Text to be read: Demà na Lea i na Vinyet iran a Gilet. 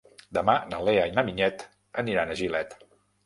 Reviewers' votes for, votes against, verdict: 0, 2, rejected